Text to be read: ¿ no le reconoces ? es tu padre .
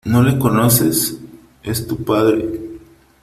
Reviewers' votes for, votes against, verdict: 0, 3, rejected